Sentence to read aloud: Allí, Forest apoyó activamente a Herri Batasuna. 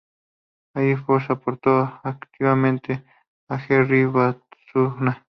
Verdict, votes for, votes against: rejected, 0, 2